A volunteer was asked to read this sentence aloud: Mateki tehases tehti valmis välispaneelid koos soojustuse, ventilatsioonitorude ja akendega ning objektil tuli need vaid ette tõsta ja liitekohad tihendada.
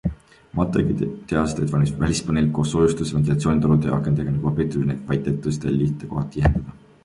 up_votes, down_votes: 1, 2